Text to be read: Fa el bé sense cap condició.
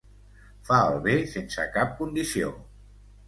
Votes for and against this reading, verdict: 2, 0, accepted